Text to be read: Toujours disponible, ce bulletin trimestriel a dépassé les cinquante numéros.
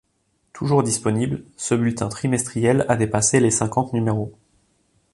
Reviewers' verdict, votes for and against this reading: accepted, 3, 0